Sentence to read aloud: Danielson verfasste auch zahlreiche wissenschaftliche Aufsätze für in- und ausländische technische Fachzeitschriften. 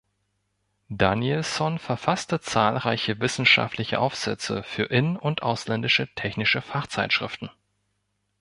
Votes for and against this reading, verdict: 1, 2, rejected